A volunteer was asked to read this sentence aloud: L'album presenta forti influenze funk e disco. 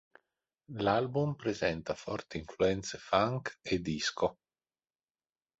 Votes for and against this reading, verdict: 2, 0, accepted